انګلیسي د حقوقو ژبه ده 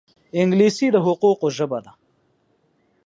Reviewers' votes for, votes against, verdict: 4, 0, accepted